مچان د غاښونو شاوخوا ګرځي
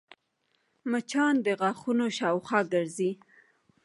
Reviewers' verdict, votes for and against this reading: rejected, 0, 2